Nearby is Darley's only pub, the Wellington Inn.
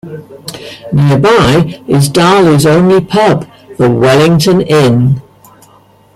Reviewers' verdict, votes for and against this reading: accepted, 2, 0